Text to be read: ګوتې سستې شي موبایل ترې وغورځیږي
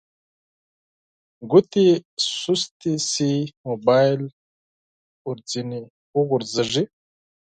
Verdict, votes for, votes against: rejected, 0, 4